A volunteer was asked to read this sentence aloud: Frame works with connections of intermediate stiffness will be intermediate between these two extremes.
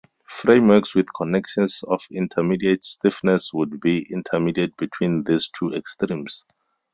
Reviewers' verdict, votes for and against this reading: accepted, 4, 0